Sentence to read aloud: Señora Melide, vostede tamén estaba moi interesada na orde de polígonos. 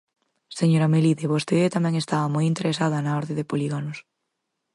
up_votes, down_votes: 2, 2